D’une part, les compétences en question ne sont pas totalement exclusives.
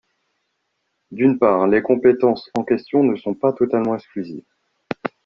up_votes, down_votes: 1, 2